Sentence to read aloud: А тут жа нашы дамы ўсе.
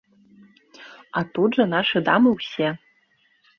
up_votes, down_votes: 1, 2